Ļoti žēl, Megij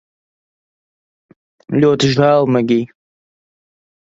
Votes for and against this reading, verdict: 2, 0, accepted